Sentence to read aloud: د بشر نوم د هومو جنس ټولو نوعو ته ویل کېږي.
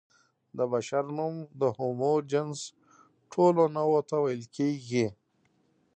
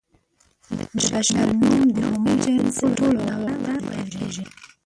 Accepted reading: first